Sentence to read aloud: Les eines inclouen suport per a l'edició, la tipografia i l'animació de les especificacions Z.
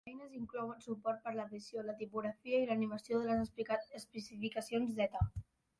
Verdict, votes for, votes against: rejected, 0, 2